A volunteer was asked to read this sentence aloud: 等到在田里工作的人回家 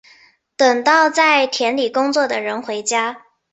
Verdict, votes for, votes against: accepted, 2, 0